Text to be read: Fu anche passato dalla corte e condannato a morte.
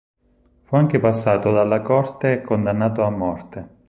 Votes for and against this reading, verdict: 6, 0, accepted